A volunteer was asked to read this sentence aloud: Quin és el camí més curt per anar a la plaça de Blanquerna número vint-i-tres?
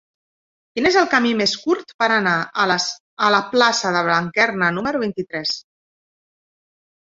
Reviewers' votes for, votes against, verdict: 0, 2, rejected